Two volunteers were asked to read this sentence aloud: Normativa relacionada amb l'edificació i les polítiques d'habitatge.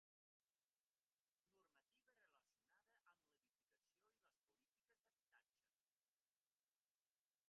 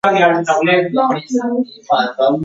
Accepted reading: first